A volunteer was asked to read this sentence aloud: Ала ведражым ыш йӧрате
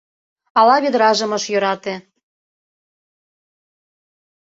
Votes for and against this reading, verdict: 2, 0, accepted